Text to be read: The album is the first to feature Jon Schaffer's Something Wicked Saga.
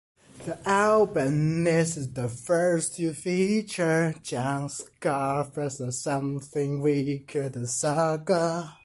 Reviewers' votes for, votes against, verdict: 1, 2, rejected